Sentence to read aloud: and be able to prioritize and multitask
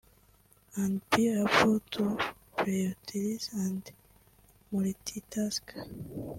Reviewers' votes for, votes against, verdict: 1, 2, rejected